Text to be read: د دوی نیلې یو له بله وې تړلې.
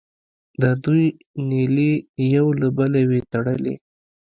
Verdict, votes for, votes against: accepted, 2, 0